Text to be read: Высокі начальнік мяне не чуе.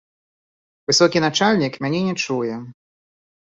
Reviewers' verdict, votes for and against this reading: rejected, 1, 2